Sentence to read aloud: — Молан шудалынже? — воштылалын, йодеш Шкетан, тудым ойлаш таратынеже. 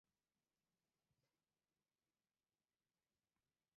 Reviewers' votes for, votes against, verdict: 0, 2, rejected